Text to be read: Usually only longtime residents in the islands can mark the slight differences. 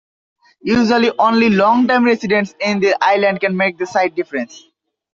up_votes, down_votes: 1, 2